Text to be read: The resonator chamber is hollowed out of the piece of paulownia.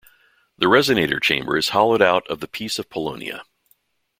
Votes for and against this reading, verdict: 2, 1, accepted